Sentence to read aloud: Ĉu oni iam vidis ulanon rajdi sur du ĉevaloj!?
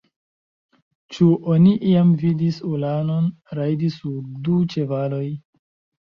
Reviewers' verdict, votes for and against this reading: accepted, 2, 0